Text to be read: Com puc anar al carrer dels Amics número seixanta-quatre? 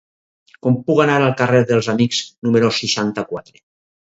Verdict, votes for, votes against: accepted, 4, 0